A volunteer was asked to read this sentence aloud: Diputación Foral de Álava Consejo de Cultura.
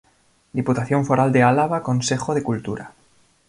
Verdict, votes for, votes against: accepted, 2, 0